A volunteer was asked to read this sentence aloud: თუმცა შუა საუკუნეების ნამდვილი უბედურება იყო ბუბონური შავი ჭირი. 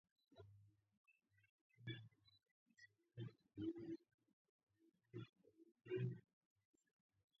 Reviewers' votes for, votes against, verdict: 0, 2, rejected